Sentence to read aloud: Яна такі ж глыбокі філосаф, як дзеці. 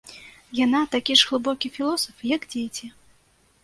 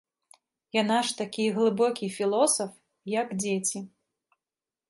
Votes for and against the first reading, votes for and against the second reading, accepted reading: 2, 0, 1, 3, first